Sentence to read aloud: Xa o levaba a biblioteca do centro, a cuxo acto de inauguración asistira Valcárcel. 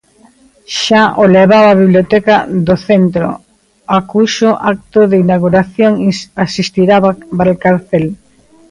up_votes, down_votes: 0, 3